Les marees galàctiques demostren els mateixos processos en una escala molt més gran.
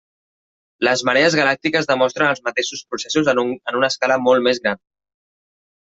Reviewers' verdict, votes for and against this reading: rejected, 0, 2